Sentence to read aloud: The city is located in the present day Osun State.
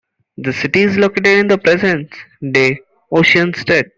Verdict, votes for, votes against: accepted, 2, 1